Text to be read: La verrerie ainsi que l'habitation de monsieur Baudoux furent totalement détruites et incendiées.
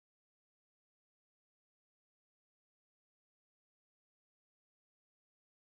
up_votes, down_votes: 0, 2